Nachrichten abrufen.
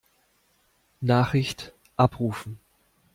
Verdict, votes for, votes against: rejected, 1, 2